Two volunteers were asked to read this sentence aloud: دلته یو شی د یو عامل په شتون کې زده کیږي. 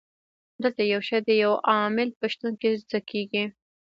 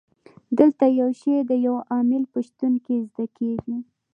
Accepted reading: second